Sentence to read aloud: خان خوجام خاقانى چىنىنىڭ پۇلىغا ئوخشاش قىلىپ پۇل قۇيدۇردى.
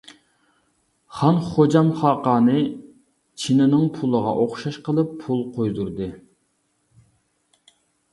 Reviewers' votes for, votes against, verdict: 2, 0, accepted